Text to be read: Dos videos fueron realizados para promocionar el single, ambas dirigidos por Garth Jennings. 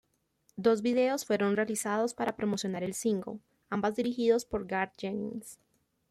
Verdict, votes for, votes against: accepted, 2, 0